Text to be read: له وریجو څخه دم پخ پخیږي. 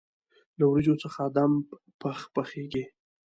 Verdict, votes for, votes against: rejected, 1, 2